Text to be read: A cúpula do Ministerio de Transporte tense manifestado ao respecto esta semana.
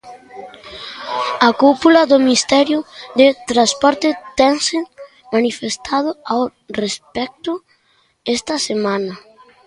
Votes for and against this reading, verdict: 0, 2, rejected